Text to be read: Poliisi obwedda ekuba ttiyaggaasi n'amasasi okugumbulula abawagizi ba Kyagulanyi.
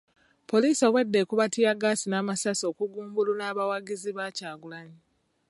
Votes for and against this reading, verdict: 2, 0, accepted